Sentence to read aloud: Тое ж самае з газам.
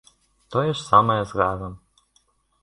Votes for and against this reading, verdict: 2, 0, accepted